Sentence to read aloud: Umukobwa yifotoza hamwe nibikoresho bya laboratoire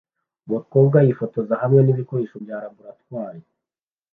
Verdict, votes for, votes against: accepted, 2, 0